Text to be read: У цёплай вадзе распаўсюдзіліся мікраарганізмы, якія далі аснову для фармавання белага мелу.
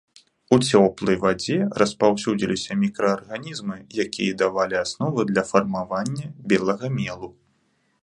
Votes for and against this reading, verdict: 0, 3, rejected